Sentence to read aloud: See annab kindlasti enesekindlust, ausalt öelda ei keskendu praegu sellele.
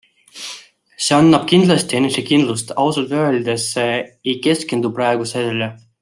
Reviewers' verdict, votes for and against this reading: rejected, 1, 2